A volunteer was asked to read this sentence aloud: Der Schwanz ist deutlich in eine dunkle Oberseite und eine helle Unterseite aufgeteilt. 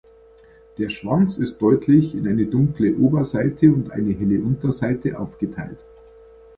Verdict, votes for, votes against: accepted, 2, 0